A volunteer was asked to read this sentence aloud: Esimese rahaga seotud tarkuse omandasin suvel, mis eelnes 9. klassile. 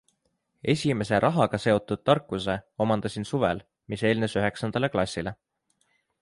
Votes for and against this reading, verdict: 0, 2, rejected